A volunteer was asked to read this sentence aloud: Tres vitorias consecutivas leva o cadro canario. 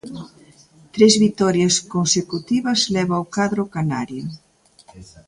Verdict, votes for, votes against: accepted, 2, 1